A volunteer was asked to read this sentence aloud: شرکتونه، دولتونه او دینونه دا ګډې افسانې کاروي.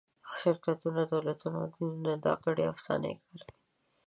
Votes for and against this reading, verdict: 2, 1, accepted